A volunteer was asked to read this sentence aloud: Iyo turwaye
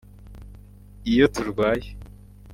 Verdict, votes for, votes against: accepted, 2, 1